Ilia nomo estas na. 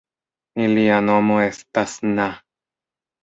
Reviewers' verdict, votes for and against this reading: rejected, 1, 2